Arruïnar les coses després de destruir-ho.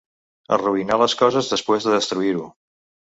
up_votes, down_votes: 1, 2